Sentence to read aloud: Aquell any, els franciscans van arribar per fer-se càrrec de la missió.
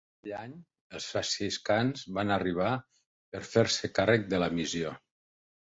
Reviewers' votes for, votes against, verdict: 1, 2, rejected